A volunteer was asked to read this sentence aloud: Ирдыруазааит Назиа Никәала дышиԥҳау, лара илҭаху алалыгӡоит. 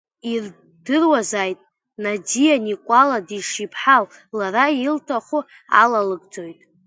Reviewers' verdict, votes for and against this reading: rejected, 1, 2